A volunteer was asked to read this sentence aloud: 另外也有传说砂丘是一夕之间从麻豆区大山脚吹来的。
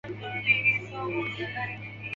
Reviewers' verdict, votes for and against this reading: rejected, 1, 4